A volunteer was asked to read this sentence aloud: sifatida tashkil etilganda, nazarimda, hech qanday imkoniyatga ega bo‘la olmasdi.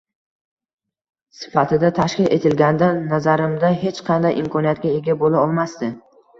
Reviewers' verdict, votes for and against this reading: rejected, 1, 2